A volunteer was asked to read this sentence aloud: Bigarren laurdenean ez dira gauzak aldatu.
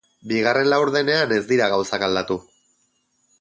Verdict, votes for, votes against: accepted, 6, 0